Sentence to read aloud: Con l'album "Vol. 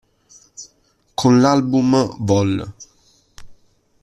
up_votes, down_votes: 2, 0